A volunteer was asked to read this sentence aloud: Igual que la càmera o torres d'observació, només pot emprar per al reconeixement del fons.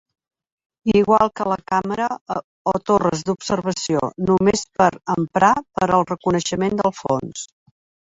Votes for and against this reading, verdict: 1, 3, rejected